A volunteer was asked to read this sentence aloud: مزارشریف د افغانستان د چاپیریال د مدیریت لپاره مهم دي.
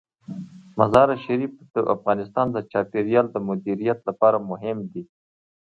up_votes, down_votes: 2, 1